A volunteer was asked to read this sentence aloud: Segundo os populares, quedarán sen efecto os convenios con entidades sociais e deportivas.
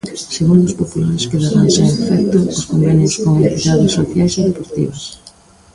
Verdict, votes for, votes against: rejected, 0, 3